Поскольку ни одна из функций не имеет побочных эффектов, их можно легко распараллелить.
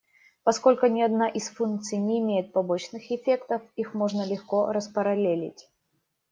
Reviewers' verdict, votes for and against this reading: accepted, 2, 0